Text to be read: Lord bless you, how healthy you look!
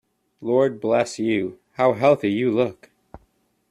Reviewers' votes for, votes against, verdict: 2, 0, accepted